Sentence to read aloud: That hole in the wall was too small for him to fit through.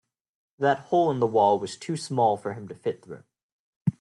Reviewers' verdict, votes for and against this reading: accepted, 2, 0